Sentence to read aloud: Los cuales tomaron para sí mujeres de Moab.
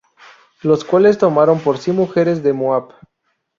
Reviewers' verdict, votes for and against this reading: rejected, 0, 2